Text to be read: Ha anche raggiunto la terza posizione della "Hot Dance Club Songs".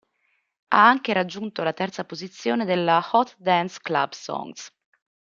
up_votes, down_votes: 2, 0